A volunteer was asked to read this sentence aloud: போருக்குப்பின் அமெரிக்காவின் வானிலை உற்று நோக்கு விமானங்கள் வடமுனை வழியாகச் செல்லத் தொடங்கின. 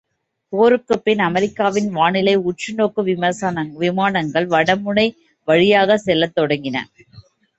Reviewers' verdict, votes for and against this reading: rejected, 1, 2